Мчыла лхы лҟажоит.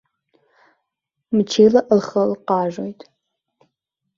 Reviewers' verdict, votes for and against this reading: rejected, 1, 2